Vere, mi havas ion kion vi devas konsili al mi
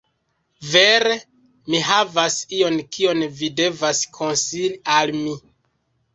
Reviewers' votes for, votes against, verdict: 1, 2, rejected